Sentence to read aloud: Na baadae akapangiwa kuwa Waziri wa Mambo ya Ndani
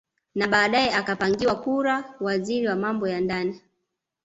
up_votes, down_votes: 1, 2